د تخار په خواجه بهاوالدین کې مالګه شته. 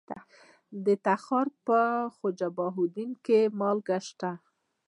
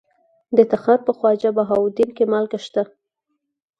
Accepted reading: second